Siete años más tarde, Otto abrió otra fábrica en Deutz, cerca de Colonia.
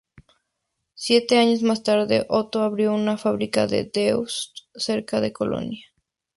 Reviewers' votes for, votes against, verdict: 2, 0, accepted